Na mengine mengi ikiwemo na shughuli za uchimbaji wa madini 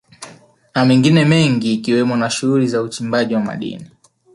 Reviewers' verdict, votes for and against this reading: rejected, 1, 2